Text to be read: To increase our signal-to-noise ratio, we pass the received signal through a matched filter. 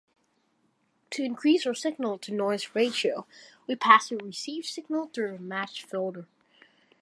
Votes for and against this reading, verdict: 2, 1, accepted